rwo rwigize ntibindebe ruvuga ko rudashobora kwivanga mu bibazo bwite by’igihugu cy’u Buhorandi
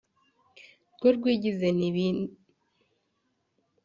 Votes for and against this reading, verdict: 0, 2, rejected